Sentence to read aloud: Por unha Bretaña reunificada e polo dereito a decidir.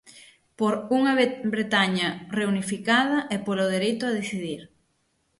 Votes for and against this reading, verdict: 3, 6, rejected